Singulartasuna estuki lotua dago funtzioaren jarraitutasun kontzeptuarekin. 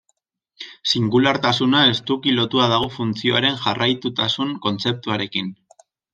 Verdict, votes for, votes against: accepted, 2, 0